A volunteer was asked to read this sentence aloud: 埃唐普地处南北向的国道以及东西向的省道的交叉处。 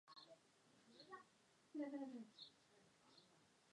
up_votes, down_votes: 0, 2